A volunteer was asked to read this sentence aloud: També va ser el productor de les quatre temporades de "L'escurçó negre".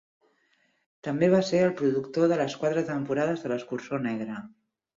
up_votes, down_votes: 4, 0